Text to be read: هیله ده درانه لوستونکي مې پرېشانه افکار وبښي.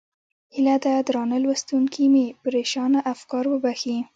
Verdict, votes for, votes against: accepted, 2, 1